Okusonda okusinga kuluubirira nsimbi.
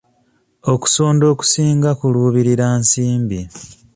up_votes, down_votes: 2, 0